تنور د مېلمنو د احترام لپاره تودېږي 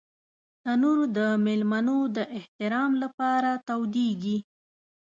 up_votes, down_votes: 2, 0